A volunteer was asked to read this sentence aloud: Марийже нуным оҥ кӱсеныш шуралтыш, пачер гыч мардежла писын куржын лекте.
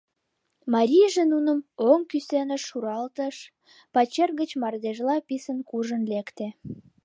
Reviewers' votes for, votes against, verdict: 2, 0, accepted